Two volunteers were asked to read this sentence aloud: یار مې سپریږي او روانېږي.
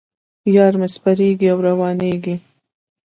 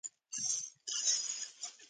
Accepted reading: first